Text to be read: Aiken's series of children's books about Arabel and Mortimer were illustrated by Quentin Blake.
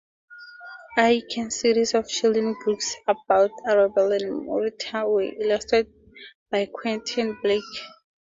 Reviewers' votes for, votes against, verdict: 2, 0, accepted